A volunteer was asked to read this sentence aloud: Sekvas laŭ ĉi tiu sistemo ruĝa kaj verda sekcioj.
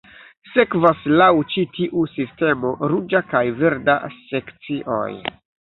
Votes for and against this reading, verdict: 1, 3, rejected